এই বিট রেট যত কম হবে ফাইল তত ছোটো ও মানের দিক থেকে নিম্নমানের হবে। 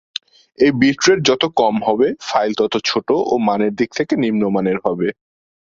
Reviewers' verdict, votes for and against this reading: accepted, 2, 0